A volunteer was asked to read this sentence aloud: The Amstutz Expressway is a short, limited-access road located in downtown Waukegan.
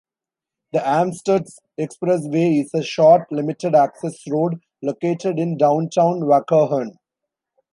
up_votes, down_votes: 2, 1